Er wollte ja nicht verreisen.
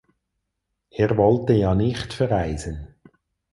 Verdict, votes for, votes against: accepted, 4, 0